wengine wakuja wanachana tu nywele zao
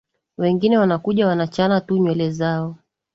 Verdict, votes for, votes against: rejected, 1, 2